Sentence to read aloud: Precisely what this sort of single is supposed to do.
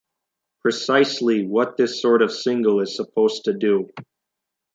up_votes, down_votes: 2, 0